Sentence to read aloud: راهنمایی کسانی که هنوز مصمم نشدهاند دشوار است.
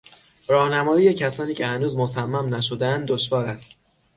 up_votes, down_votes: 6, 0